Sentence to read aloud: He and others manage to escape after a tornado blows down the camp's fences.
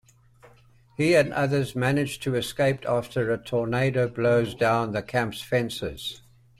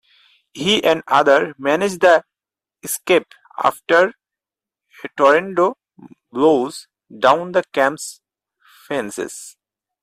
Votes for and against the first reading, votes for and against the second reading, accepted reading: 2, 0, 2, 4, first